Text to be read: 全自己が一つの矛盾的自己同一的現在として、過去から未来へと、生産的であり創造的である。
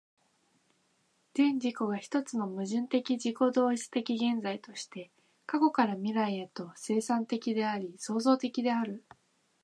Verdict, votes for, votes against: accepted, 3, 0